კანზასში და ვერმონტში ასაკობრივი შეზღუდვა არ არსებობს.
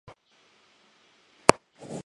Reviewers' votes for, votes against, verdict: 0, 2, rejected